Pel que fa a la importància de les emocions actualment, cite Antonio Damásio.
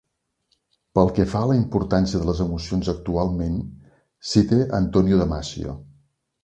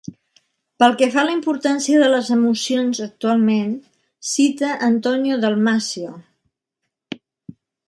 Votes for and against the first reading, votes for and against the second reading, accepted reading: 2, 1, 2, 3, first